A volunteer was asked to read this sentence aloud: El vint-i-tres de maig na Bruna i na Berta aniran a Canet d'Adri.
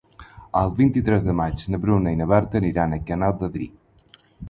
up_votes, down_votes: 2, 4